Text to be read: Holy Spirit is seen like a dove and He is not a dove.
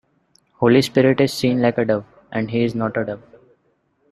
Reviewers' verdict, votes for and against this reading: rejected, 0, 2